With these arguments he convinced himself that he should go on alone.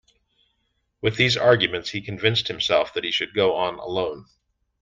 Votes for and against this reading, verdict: 2, 0, accepted